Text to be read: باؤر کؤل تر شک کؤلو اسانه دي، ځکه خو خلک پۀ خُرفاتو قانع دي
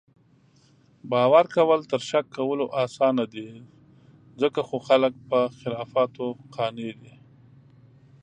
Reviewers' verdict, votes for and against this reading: rejected, 1, 2